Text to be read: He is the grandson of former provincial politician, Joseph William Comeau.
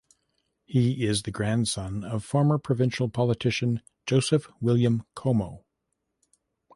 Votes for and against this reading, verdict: 2, 0, accepted